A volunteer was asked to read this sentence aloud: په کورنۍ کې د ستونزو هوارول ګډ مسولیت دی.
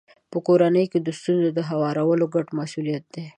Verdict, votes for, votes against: accepted, 2, 0